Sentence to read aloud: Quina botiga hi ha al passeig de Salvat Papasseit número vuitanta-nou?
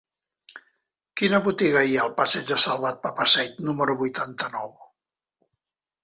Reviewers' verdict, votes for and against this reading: accepted, 2, 0